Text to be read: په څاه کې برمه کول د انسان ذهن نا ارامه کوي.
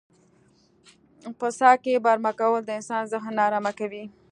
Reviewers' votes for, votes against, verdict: 2, 0, accepted